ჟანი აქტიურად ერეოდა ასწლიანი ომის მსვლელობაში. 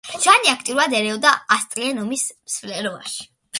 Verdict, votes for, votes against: accepted, 2, 0